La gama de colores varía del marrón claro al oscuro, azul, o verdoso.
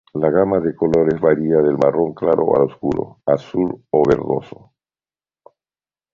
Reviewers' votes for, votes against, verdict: 3, 2, accepted